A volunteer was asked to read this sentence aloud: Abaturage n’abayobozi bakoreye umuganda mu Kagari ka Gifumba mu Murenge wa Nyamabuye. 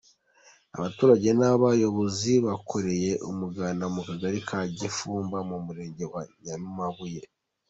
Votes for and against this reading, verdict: 2, 0, accepted